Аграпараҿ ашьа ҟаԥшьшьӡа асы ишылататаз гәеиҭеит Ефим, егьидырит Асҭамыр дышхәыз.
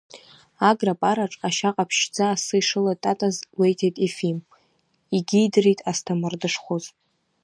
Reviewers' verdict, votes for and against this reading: rejected, 1, 2